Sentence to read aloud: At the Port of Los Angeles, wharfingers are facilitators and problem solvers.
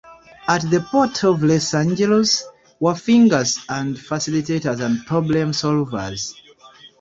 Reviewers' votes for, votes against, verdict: 1, 2, rejected